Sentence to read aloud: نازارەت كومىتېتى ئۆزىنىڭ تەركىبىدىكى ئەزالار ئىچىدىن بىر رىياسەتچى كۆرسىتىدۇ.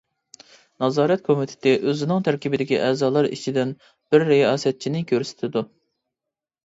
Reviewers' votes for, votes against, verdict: 0, 2, rejected